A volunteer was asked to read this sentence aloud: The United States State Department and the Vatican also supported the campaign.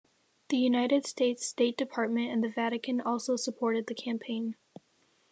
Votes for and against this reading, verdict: 3, 1, accepted